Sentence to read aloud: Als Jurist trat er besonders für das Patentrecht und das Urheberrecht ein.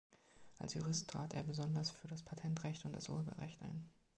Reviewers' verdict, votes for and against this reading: accepted, 3, 0